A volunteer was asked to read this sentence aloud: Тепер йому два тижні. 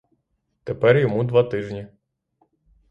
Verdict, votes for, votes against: accepted, 3, 0